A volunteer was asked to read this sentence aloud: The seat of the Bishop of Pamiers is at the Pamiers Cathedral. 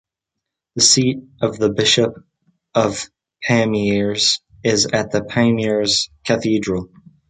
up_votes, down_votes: 2, 0